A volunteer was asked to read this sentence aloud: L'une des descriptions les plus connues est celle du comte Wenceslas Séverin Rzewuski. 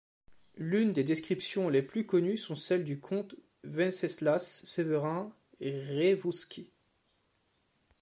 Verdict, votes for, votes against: rejected, 0, 2